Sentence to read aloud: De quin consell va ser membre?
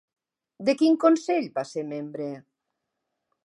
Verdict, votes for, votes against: accepted, 3, 0